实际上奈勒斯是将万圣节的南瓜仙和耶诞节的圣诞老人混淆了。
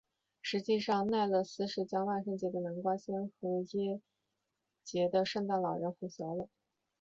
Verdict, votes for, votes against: accepted, 2, 1